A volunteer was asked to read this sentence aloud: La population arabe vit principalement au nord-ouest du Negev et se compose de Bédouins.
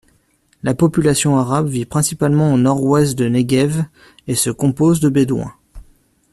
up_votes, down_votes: 1, 2